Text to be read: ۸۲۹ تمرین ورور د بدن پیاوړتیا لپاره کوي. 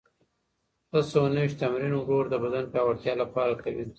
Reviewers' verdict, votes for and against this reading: rejected, 0, 2